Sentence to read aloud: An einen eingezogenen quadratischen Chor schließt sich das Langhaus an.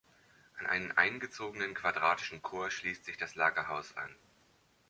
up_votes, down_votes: 0, 2